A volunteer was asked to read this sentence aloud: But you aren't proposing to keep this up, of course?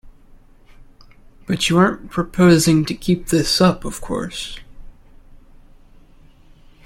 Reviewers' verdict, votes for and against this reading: accepted, 2, 0